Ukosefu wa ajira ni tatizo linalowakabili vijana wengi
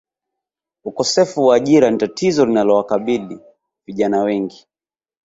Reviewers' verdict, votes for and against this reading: accepted, 2, 0